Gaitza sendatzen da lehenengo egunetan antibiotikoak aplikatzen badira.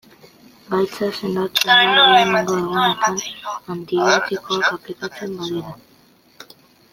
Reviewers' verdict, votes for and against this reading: rejected, 0, 2